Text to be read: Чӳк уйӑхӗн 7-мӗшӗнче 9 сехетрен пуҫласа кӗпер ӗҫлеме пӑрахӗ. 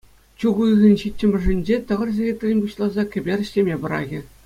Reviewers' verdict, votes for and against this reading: rejected, 0, 2